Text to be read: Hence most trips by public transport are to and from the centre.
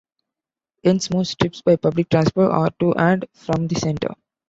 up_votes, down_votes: 2, 1